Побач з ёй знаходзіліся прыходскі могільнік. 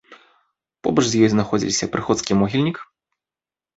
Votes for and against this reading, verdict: 2, 0, accepted